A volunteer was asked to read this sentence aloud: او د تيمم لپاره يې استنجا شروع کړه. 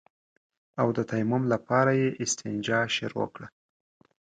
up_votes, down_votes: 2, 0